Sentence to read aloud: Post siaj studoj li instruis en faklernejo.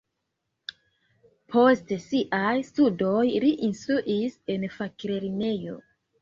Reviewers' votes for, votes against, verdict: 2, 0, accepted